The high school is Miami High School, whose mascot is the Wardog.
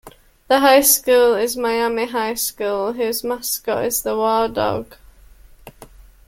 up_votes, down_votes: 1, 2